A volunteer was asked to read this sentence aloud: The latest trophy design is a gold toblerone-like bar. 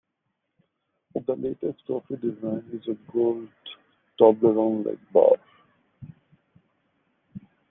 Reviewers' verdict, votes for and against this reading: rejected, 1, 2